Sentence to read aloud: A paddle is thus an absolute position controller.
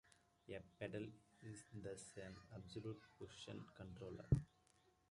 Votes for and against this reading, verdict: 0, 2, rejected